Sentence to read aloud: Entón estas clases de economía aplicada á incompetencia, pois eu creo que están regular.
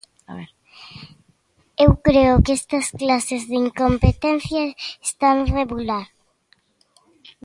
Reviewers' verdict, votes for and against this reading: rejected, 0, 2